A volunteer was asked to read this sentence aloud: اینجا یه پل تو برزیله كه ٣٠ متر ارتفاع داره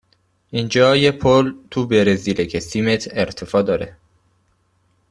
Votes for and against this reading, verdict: 0, 2, rejected